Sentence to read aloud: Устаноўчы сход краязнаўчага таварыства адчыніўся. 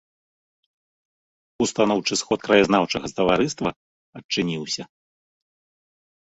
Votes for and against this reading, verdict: 0, 2, rejected